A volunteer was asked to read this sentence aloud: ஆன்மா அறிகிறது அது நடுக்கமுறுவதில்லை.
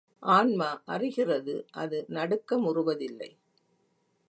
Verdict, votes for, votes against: accepted, 2, 0